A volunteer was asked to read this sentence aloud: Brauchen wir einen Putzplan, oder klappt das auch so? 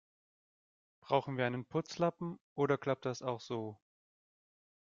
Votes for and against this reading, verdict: 1, 2, rejected